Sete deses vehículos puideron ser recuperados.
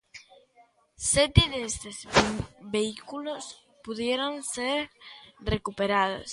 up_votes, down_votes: 0, 2